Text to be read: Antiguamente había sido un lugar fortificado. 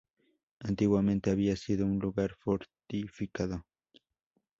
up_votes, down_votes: 0, 2